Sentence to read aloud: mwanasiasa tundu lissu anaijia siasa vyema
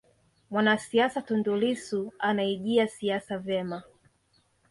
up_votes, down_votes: 3, 0